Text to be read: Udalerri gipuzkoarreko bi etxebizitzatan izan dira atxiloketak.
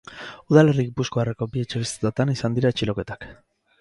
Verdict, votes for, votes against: accepted, 2, 0